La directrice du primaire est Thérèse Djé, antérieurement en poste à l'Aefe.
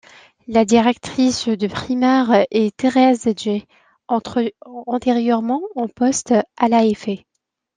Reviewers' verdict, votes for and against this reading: rejected, 1, 2